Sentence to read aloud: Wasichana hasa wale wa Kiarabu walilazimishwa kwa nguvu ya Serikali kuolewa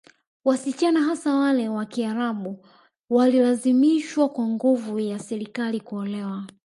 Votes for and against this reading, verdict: 2, 0, accepted